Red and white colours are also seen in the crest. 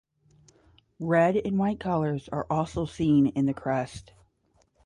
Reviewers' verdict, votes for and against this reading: rejected, 0, 5